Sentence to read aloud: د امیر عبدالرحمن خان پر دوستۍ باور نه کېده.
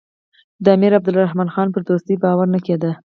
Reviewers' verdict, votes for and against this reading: rejected, 2, 2